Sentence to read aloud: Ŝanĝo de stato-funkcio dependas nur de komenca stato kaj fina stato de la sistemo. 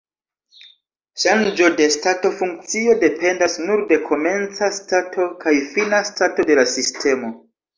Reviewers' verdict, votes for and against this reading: accepted, 2, 1